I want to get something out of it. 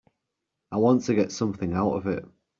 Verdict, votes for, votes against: accepted, 2, 0